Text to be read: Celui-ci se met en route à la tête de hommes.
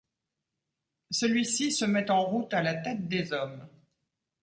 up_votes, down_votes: 0, 2